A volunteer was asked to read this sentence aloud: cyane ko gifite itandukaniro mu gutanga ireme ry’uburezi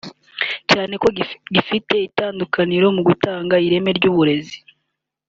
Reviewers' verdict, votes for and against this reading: rejected, 0, 2